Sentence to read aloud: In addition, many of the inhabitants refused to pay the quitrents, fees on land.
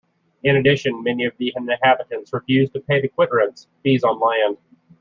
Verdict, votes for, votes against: rejected, 1, 2